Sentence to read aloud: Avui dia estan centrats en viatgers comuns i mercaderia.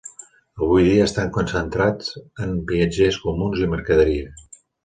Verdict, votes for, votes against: rejected, 1, 2